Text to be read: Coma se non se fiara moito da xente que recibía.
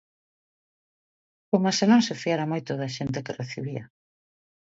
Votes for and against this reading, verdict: 2, 0, accepted